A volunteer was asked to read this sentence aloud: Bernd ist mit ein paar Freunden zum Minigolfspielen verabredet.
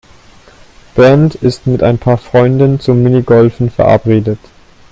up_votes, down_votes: 0, 2